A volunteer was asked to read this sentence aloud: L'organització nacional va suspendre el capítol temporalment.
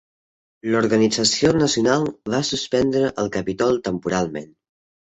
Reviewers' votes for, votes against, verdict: 1, 2, rejected